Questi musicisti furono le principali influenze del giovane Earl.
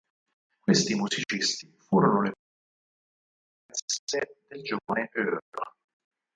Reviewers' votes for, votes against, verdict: 0, 4, rejected